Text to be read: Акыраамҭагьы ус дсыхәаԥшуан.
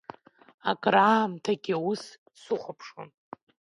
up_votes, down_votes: 2, 0